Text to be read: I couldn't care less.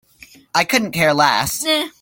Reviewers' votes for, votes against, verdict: 1, 2, rejected